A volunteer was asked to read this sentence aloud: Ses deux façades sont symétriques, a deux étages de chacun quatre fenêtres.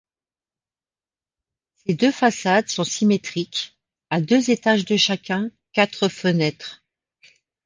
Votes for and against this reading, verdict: 1, 2, rejected